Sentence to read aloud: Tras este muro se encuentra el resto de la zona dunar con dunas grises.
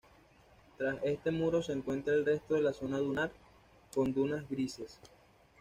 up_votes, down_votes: 2, 0